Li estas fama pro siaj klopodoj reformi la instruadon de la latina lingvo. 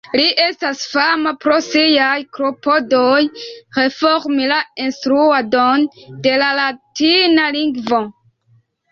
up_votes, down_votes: 1, 2